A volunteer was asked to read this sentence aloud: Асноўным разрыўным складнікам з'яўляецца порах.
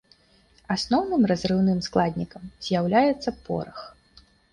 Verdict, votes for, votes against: accepted, 2, 0